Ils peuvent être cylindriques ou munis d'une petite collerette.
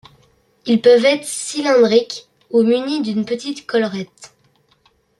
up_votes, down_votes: 2, 0